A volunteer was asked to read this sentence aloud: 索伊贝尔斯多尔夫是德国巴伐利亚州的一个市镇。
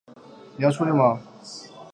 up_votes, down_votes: 0, 2